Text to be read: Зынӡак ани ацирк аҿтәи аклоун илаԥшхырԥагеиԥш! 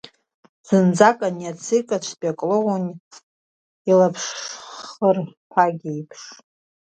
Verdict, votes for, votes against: rejected, 0, 2